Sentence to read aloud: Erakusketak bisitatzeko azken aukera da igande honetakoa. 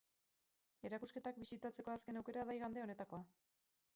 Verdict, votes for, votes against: rejected, 2, 4